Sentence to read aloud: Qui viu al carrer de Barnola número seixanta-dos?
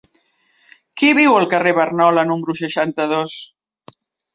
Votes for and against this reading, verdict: 1, 2, rejected